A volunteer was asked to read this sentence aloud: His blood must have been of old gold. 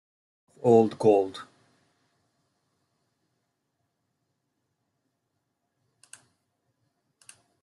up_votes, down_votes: 0, 2